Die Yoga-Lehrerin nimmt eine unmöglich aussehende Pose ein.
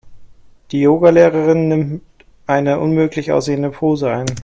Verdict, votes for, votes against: accepted, 2, 0